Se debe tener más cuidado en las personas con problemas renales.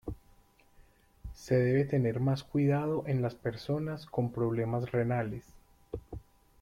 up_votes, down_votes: 2, 1